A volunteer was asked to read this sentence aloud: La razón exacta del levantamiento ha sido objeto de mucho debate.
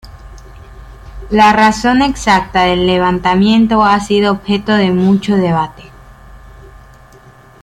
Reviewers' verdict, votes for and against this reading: accepted, 2, 1